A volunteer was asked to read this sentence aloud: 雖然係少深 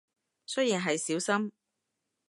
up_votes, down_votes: 2, 0